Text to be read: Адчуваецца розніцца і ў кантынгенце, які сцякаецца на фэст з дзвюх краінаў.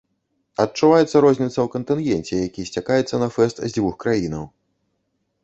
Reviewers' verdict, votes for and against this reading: rejected, 1, 2